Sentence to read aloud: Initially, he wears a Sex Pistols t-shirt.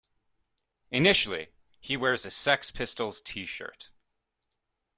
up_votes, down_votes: 2, 0